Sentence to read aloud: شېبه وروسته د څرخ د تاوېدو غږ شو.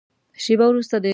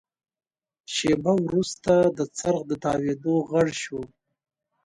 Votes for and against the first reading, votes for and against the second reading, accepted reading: 0, 2, 2, 0, second